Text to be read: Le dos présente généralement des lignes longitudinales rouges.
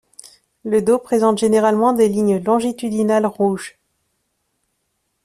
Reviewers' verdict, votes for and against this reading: accepted, 2, 0